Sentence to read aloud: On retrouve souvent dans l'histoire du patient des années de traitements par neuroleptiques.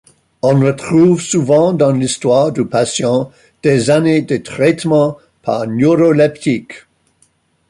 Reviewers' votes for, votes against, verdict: 2, 1, accepted